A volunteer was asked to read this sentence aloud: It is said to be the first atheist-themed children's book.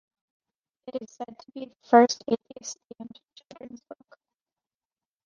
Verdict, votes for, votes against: rejected, 1, 2